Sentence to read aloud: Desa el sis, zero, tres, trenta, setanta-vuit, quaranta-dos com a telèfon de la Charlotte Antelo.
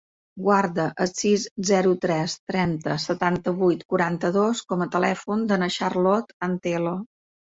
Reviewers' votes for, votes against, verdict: 0, 2, rejected